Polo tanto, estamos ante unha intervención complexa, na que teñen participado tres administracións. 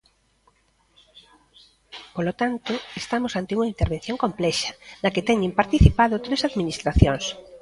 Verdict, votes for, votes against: rejected, 1, 2